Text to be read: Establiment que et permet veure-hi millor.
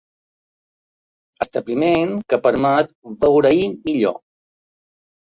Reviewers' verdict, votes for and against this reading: rejected, 1, 2